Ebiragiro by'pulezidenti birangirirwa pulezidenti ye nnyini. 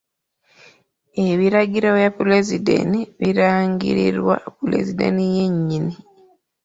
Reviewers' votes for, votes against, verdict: 0, 2, rejected